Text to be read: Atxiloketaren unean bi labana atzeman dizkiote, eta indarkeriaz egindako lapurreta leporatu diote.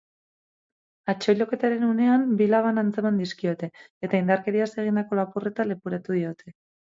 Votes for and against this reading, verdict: 2, 2, rejected